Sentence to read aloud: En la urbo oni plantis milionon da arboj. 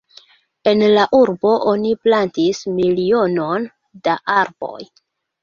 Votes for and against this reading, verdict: 2, 1, accepted